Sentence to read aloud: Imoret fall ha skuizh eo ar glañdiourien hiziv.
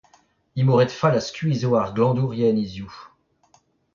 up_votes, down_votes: 0, 2